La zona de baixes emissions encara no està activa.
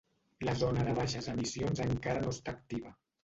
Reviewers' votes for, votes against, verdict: 1, 2, rejected